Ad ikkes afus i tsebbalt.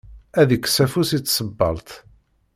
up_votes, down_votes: 0, 2